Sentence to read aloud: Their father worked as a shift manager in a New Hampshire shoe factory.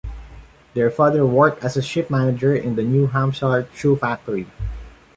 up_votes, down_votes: 2, 0